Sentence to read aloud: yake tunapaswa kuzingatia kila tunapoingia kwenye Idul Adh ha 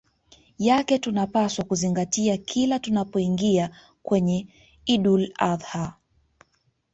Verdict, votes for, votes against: accepted, 2, 1